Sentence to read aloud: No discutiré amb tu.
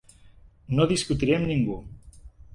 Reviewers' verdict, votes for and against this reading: rejected, 0, 2